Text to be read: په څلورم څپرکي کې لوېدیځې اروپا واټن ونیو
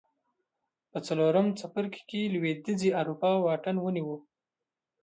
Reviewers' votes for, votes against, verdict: 1, 2, rejected